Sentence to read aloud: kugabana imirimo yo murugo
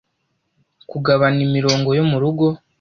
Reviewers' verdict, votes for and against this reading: rejected, 1, 2